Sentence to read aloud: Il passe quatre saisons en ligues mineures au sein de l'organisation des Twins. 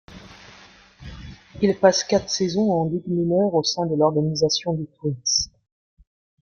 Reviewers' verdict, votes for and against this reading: rejected, 1, 2